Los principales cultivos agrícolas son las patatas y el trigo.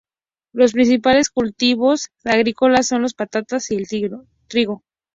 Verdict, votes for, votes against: rejected, 0, 2